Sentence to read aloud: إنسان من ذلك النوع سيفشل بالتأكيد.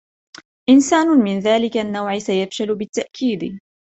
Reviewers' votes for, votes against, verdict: 1, 2, rejected